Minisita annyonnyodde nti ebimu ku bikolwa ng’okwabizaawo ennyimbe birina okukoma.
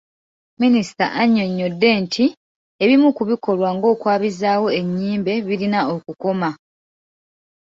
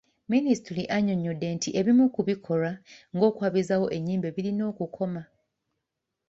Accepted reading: first